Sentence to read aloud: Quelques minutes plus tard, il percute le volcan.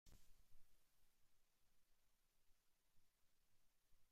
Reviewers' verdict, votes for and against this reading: rejected, 0, 2